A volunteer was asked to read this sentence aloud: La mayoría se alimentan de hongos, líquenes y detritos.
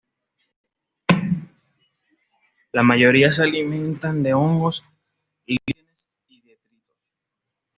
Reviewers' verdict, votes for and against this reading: rejected, 0, 2